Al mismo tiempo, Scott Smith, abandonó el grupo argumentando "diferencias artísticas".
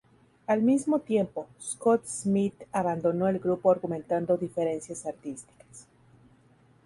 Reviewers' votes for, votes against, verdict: 0, 2, rejected